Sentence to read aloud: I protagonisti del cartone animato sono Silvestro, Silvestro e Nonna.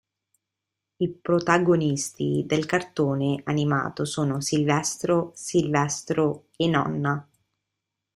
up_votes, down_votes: 2, 0